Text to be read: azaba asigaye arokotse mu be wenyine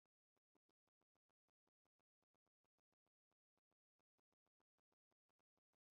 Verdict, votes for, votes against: rejected, 0, 2